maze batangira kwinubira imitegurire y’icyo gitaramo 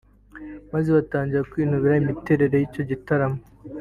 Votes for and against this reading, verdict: 2, 0, accepted